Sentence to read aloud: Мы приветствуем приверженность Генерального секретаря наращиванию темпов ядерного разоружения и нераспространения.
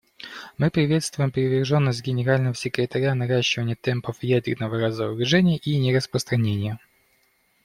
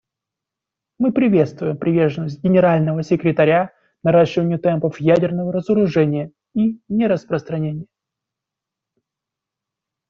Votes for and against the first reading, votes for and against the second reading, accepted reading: 1, 2, 2, 0, second